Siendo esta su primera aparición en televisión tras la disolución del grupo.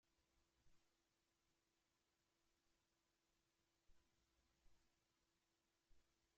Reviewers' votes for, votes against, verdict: 0, 2, rejected